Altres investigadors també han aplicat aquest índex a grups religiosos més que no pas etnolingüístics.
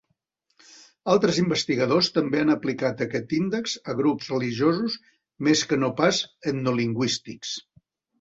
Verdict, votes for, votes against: accepted, 2, 0